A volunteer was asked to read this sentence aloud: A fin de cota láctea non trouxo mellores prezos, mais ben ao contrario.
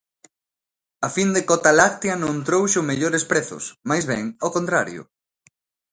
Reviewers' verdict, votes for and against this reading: accepted, 2, 0